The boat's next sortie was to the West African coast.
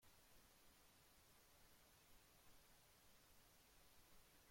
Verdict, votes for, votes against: rejected, 0, 2